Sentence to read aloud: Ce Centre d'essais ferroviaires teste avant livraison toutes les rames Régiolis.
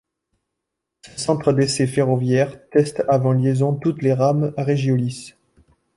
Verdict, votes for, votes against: rejected, 1, 2